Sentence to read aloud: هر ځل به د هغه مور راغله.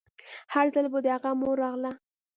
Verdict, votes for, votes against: rejected, 1, 2